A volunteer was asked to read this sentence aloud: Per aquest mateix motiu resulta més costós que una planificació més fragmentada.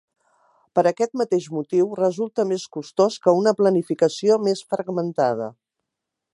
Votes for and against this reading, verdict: 2, 0, accepted